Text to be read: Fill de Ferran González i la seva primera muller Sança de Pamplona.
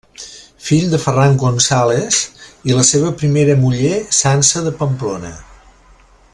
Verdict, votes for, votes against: accepted, 3, 0